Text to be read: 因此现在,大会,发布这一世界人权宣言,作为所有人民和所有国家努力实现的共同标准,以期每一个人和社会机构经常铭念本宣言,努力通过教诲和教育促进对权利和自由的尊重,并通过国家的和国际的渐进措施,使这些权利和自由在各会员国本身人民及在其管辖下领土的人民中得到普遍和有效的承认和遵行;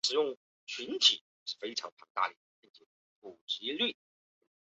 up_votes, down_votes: 0, 2